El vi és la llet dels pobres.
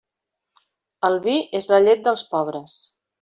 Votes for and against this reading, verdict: 3, 0, accepted